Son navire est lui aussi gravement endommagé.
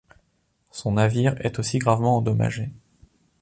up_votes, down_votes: 0, 2